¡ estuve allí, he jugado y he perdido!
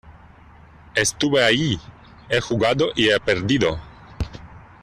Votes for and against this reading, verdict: 0, 2, rejected